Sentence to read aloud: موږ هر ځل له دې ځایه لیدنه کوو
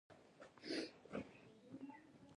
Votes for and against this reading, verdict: 0, 2, rejected